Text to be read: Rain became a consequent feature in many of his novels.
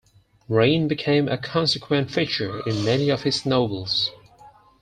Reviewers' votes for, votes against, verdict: 4, 0, accepted